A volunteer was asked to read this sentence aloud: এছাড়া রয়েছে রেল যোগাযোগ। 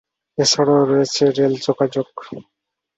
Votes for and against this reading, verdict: 2, 0, accepted